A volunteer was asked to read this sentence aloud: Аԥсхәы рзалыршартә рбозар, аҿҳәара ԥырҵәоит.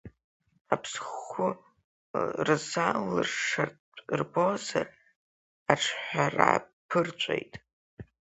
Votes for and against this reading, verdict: 2, 4, rejected